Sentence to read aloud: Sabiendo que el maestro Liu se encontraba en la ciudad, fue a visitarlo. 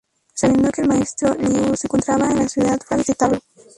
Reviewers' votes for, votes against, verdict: 2, 2, rejected